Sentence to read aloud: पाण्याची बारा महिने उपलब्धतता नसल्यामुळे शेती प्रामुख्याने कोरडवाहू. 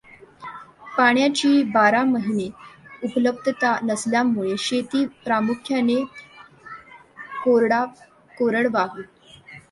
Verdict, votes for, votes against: rejected, 1, 2